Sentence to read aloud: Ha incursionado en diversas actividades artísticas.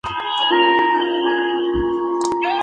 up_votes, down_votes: 0, 2